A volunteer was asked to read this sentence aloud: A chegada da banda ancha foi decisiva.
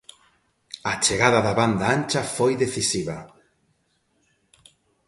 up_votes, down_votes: 2, 0